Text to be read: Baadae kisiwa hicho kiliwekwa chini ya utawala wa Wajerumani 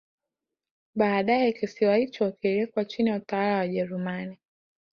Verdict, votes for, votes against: accepted, 3, 0